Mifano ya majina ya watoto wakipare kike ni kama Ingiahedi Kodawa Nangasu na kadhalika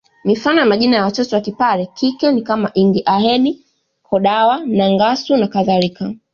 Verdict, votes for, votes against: accepted, 2, 0